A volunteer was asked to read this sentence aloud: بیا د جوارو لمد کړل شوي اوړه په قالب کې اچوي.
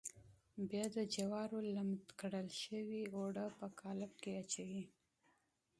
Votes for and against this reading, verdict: 2, 0, accepted